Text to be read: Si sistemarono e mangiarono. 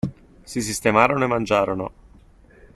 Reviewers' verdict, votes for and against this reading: accepted, 2, 0